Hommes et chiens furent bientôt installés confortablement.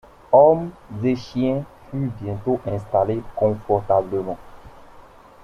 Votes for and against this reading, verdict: 2, 1, accepted